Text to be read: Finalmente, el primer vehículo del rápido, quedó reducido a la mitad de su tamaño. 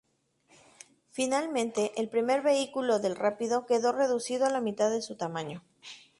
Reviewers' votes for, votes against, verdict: 2, 2, rejected